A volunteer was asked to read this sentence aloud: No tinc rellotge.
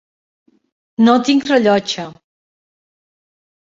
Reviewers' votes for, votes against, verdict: 4, 0, accepted